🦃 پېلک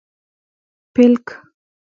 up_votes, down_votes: 1, 2